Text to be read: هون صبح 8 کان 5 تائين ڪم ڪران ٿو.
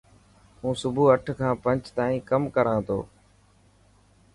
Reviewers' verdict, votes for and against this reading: rejected, 0, 2